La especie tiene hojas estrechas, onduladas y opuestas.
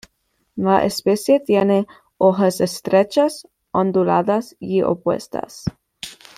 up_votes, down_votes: 2, 0